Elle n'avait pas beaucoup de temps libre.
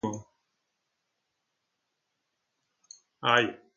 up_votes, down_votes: 1, 2